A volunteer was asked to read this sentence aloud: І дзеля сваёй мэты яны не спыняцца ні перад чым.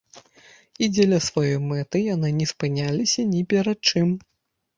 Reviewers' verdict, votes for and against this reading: rejected, 1, 2